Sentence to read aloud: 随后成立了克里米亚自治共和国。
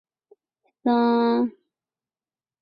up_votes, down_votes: 1, 6